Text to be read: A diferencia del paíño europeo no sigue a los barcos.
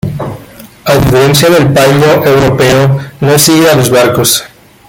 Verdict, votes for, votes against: rejected, 0, 2